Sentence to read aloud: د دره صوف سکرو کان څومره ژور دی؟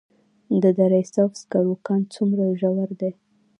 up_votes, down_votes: 2, 0